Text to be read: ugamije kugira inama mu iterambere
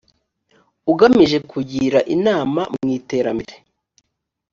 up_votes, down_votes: 3, 0